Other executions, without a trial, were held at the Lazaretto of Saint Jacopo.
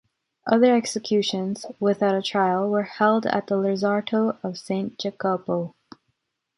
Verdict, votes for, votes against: rejected, 1, 2